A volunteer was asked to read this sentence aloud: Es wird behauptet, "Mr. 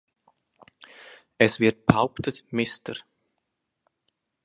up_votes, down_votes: 2, 0